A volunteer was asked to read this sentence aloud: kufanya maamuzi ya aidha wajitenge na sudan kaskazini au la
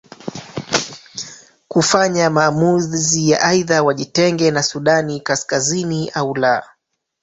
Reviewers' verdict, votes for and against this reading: rejected, 0, 2